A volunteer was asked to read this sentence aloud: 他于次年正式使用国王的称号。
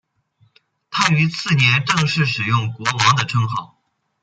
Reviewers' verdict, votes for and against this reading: accepted, 2, 0